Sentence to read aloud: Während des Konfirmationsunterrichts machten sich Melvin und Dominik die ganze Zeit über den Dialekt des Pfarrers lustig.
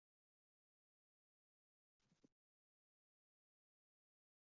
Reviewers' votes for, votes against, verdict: 0, 2, rejected